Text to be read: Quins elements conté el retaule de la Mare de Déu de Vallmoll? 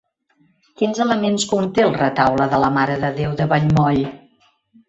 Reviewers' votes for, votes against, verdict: 1, 2, rejected